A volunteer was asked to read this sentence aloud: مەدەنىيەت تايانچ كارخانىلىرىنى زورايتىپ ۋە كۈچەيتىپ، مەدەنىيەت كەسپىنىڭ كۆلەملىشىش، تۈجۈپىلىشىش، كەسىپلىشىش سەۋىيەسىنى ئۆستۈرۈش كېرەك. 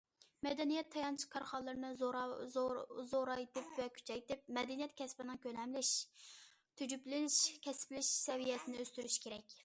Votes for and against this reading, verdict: 0, 2, rejected